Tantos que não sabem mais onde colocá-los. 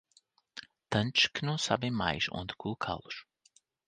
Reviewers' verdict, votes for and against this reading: rejected, 0, 2